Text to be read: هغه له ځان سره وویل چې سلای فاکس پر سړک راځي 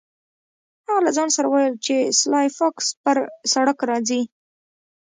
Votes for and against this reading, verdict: 0, 2, rejected